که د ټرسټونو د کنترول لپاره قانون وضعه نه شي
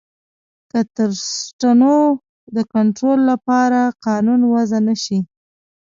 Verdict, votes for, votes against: rejected, 0, 2